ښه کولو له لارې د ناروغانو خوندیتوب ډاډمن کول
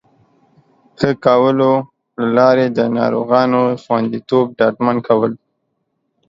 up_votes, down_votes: 3, 0